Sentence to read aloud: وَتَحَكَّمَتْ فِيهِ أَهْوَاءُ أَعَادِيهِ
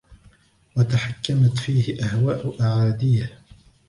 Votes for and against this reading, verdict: 1, 2, rejected